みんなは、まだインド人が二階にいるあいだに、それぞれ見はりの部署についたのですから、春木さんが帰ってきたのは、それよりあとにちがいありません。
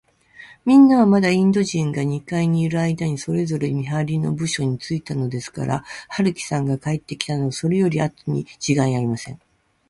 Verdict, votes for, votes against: accepted, 2, 0